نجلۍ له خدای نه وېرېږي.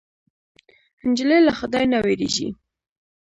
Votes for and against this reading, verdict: 1, 2, rejected